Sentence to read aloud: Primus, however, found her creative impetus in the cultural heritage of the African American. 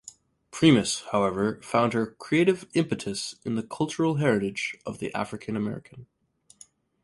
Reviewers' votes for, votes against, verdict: 4, 0, accepted